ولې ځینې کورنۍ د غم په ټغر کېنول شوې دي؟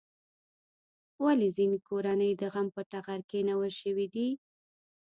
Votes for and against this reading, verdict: 1, 2, rejected